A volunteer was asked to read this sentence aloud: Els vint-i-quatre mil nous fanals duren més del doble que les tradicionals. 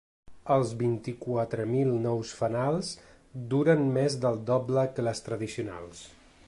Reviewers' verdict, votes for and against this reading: accepted, 2, 0